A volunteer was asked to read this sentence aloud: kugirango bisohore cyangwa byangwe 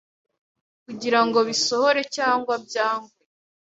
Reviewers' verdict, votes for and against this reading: accepted, 2, 0